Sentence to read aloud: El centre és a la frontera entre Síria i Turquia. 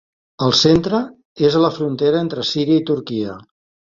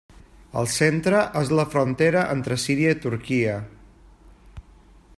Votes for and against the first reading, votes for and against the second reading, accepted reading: 3, 0, 1, 2, first